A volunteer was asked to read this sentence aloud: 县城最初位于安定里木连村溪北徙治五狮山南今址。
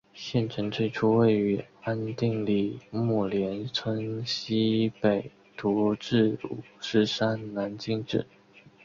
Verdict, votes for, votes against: accepted, 2, 0